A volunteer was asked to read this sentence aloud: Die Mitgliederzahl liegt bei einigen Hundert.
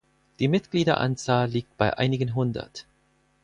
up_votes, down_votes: 0, 4